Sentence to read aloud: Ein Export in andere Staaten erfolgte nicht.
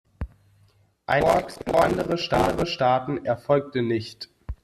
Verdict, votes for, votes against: rejected, 0, 2